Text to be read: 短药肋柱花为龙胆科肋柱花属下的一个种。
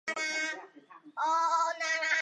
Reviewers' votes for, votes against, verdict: 0, 2, rejected